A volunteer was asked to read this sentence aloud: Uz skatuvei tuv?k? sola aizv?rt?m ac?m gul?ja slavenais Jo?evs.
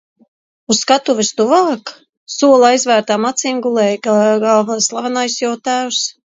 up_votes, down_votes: 0, 2